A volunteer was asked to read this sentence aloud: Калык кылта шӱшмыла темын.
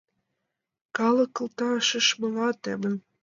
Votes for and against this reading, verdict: 0, 2, rejected